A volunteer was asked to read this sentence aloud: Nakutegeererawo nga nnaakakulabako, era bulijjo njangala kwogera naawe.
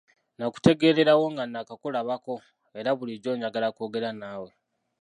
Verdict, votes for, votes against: rejected, 1, 2